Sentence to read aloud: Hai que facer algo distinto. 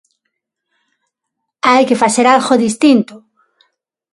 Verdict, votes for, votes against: accepted, 6, 0